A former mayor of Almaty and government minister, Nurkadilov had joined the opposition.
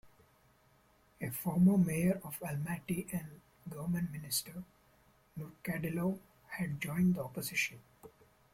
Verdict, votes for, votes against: accepted, 2, 1